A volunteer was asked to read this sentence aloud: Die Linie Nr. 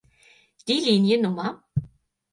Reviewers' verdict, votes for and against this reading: accepted, 4, 0